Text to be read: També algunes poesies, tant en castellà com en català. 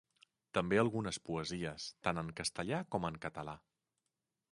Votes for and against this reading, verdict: 2, 0, accepted